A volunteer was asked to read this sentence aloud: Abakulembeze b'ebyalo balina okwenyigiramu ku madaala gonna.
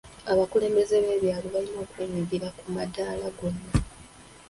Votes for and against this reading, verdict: 2, 0, accepted